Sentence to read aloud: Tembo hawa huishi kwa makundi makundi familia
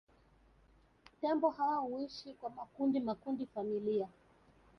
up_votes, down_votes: 2, 1